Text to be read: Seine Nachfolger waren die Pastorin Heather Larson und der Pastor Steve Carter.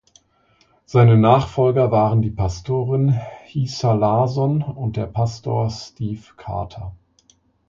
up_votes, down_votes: 0, 2